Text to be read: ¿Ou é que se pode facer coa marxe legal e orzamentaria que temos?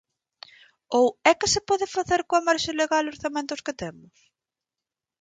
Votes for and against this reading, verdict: 0, 4, rejected